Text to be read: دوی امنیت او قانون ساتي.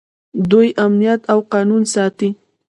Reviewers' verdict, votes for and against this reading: rejected, 1, 2